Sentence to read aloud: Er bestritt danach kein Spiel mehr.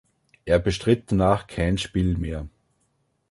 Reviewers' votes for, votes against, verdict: 2, 0, accepted